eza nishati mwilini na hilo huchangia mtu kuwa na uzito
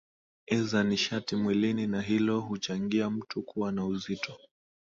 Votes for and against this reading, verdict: 2, 0, accepted